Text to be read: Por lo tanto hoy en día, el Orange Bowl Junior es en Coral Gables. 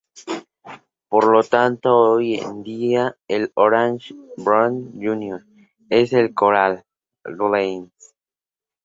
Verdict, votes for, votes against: rejected, 0, 2